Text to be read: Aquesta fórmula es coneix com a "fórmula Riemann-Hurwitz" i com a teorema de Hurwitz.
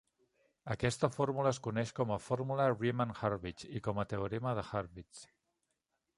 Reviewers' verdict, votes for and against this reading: accepted, 2, 0